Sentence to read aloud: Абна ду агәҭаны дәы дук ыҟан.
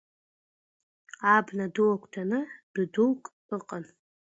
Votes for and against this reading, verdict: 2, 0, accepted